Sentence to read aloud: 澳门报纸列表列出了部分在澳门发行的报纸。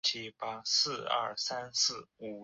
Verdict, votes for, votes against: rejected, 0, 2